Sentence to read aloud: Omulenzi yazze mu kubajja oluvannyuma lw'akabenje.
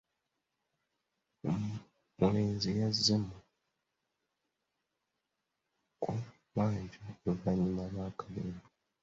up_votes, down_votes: 0, 2